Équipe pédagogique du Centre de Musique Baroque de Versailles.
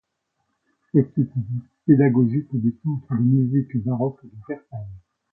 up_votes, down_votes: 0, 2